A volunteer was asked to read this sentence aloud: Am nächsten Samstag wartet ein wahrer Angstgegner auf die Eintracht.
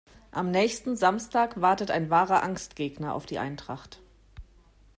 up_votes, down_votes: 2, 0